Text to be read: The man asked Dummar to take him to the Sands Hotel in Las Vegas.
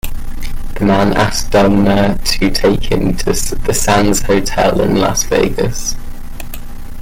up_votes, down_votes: 2, 1